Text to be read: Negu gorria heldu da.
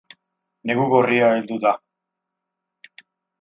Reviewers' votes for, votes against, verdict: 8, 0, accepted